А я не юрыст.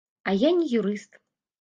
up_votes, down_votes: 2, 0